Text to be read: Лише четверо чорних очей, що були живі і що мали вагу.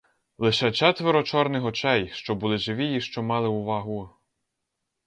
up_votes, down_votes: 2, 2